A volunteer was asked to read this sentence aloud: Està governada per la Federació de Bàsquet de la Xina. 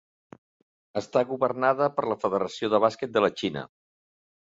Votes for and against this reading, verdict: 3, 1, accepted